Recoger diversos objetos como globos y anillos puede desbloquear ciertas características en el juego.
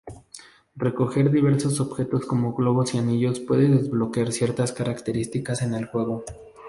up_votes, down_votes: 2, 2